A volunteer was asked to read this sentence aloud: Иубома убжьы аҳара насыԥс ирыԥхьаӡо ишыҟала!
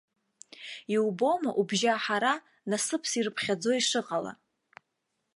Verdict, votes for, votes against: accepted, 2, 0